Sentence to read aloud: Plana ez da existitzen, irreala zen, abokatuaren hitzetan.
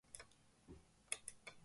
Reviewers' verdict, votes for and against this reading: rejected, 0, 2